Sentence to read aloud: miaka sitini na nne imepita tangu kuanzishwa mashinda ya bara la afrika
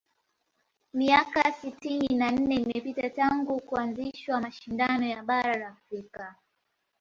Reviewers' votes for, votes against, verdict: 2, 0, accepted